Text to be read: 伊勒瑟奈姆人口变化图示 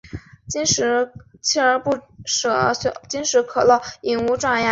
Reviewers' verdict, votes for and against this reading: rejected, 1, 2